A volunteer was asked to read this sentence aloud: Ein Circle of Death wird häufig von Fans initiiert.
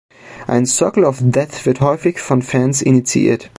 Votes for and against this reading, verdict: 2, 0, accepted